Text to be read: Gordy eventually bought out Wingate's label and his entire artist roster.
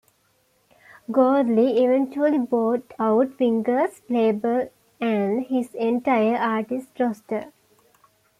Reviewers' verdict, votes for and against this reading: rejected, 0, 2